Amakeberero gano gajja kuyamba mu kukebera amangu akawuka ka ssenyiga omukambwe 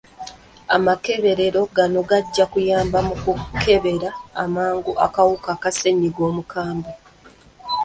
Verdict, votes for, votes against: rejected, 0, 2